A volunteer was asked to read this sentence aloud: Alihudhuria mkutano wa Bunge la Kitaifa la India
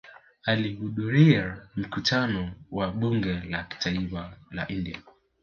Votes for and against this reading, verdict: 0, 2, rejected